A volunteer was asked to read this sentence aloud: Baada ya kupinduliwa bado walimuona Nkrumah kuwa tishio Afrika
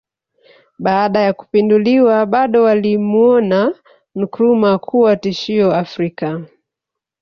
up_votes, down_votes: 1, 2